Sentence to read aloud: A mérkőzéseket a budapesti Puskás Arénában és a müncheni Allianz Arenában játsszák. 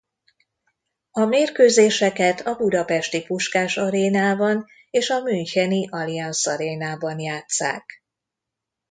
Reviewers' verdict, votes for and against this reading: accepted, 2, 0